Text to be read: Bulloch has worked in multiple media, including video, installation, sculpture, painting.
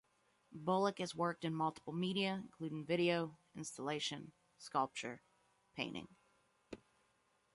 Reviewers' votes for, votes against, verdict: 2, 0, accepted